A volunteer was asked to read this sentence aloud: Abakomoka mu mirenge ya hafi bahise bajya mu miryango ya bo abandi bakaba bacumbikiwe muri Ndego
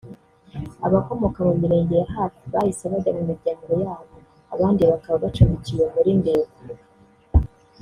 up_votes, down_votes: 2, 0